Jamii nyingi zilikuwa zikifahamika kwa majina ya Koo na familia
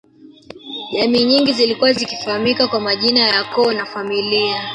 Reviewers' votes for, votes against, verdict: 2, 1, accepted